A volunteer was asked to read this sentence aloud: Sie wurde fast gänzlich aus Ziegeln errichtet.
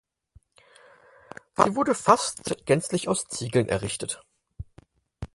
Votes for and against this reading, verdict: 0, 4, rejected